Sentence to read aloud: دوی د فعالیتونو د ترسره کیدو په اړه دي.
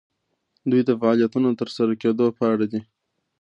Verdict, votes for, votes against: accepted, 2, 0